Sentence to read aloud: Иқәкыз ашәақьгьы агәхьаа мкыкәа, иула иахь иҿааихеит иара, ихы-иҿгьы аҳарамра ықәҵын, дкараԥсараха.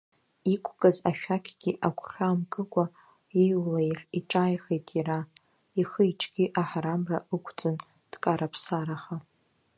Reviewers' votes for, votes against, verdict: 1, 3, rejected